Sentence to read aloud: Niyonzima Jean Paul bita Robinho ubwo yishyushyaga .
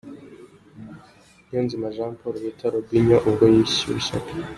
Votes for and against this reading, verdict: 2, 0, accepted